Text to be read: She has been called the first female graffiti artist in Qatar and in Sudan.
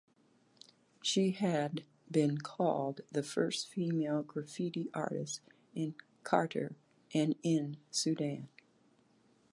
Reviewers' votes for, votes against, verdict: 1, 2, rejected